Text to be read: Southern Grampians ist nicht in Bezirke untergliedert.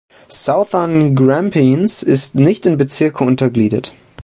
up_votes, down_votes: 1, 2